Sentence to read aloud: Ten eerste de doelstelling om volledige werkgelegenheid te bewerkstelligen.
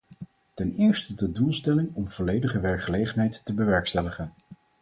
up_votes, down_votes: 4, 0